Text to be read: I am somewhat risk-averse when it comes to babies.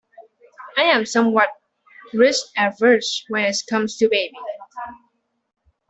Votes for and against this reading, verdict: 1, 2, rejected